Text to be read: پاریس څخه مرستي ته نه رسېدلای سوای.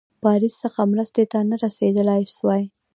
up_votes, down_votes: 1, 2